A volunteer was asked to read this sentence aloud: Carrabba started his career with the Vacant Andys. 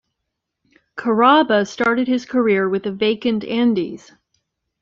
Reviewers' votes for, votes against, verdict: 2, 0, accepted